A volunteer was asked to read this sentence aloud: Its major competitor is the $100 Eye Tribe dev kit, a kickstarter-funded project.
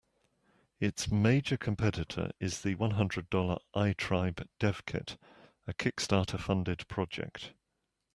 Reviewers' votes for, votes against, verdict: 0, 2, rejected